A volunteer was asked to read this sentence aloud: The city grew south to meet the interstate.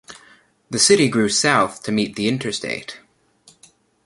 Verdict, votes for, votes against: accepted, 2, 0